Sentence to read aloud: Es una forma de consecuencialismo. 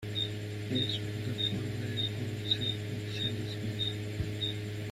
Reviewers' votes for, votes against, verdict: 0, 2, rejected